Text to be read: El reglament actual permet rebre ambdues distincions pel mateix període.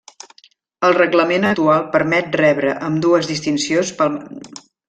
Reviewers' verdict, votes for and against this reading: rejected, 0, 2